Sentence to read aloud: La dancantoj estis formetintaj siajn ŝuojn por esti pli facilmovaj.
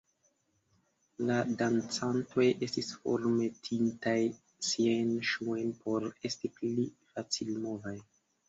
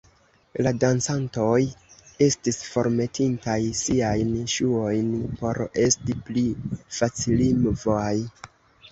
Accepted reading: first